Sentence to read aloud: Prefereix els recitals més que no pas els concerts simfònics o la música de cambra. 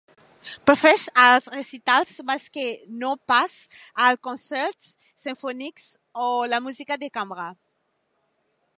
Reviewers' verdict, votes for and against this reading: rejected, 0, 2